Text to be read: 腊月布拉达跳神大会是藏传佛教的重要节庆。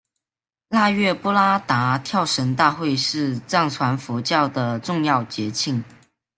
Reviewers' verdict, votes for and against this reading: accepted, 2, 1